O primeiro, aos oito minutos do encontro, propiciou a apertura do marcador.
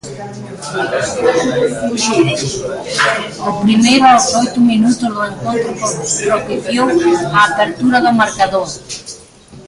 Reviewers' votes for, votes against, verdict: 0, 2, rejected